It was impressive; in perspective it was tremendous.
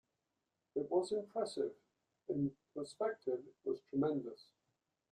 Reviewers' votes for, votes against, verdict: 2, 0, accepted